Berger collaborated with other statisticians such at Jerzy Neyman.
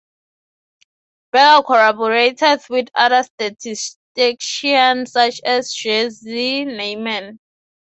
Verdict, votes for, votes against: rejected, 0, 6